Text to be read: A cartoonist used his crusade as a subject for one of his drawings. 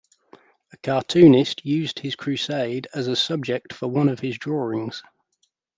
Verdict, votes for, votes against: accepted, 2, 0